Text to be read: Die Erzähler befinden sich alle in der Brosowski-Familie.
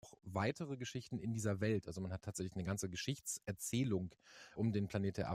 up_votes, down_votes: 0, 2